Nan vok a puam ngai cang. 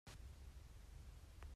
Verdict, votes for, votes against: rejected, 0, 2